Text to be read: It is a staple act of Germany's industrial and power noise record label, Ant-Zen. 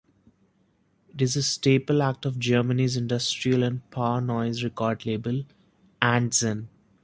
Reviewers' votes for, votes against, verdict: 1, 2, rejected